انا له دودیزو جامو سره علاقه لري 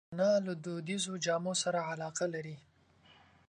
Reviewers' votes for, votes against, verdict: 3, 0, accepted